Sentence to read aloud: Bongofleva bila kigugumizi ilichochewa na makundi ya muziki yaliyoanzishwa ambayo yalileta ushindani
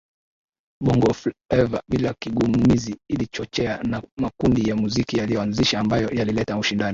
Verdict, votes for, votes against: accepted, 2, 1